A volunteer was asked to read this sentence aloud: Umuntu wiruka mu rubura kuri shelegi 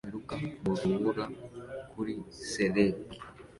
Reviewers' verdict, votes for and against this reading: rejected, 0, 2